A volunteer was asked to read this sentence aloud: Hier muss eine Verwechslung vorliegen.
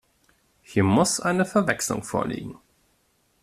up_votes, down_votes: 2, 0